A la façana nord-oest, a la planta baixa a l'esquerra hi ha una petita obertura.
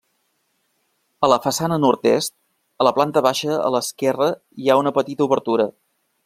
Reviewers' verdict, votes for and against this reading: rejected, 1, 2